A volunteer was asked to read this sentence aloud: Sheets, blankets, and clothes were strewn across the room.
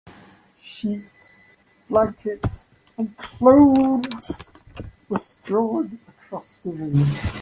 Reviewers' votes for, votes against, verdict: 1, 2, rejected